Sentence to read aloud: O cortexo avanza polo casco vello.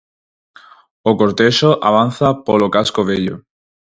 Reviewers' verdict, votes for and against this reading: accepted, 4, 0